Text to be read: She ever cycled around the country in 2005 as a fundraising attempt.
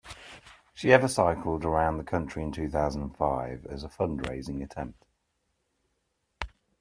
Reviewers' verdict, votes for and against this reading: rejected, 0, 2